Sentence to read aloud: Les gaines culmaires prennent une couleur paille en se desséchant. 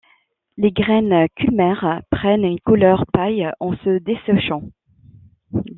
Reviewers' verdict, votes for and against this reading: rejected, 1, 2